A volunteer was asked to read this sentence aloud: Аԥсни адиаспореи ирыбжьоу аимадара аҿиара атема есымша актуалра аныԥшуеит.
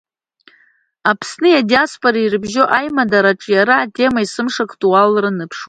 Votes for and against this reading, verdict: 2, 1, accepted